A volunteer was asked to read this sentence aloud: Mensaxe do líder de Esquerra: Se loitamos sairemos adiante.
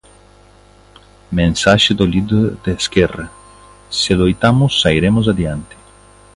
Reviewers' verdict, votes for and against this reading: accepted, 2, 1